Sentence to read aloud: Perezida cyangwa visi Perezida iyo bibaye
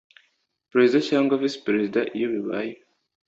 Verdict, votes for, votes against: accepted, 2, 0